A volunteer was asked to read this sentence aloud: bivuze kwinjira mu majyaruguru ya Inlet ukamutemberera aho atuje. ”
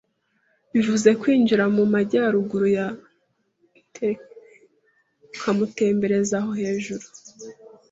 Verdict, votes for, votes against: rejected, 1, 2